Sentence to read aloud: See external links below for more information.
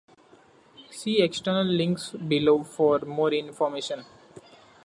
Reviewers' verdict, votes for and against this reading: accepted, 2, 1